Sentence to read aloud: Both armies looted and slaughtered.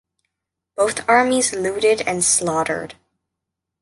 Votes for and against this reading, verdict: 2, 0, accepted